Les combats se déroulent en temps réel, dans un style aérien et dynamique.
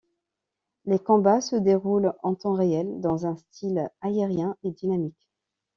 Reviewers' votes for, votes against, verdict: 2, 0, accepted